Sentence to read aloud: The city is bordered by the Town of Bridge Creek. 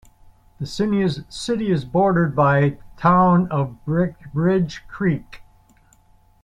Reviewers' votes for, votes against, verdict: 0, 2, rejected